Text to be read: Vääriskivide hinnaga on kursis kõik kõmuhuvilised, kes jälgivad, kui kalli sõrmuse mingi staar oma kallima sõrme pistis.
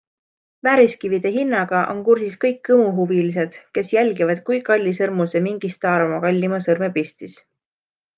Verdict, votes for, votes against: accepted, 2, 0